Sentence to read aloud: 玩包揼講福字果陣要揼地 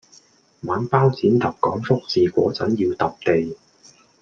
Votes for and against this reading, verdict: 2, 0, accepted